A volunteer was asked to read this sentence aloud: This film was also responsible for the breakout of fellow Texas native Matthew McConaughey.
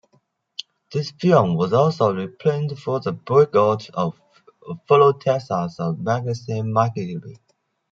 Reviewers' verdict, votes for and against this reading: rejected, 0, 2